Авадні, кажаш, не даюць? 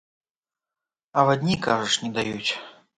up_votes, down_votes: 2, 0